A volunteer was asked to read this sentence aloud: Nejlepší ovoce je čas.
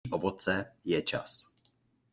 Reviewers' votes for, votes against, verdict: 1, 2, rejected